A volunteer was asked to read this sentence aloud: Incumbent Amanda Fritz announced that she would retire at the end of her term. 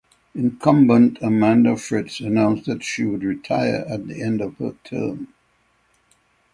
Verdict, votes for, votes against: accepted, 6, 3